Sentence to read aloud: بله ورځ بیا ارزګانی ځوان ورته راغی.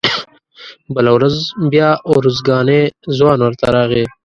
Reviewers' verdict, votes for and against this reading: rejected, 0, 2